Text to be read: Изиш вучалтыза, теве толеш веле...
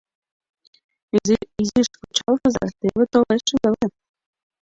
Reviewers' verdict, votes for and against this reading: rejected, 1, 2